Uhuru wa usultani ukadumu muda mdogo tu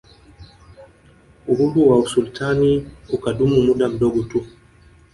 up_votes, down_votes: 1, 2